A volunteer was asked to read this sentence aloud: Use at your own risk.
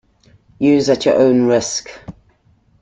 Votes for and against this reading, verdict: 2, 0, accepted